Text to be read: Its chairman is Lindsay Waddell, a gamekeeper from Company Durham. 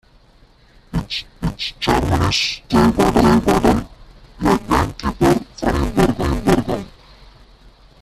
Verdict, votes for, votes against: rejected, 0, 2